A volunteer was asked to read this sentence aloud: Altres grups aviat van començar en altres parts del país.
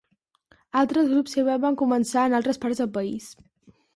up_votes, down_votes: 1, 3